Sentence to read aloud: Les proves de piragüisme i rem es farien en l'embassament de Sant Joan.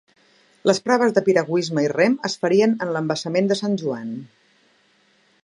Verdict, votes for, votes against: accepted, 2, 0